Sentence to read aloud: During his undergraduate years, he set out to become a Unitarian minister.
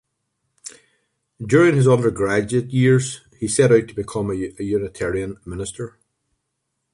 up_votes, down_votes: 2, 1